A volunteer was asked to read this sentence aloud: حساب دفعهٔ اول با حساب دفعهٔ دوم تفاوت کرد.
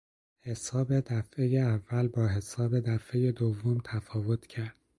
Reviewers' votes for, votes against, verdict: 2, 0, accepted